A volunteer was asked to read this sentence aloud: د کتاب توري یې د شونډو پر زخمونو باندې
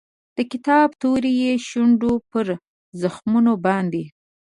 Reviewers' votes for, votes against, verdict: 2, 1, accepted